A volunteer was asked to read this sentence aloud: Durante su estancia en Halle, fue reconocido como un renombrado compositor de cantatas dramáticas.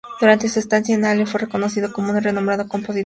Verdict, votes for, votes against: rejected, 0, 4